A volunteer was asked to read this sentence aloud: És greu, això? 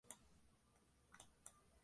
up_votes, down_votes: 1, 2